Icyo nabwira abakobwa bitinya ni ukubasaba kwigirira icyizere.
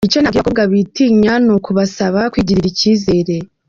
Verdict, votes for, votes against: accepted, 2, 1